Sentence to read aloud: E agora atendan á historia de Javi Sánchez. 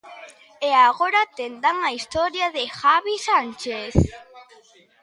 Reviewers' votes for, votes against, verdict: 0, 2, rejected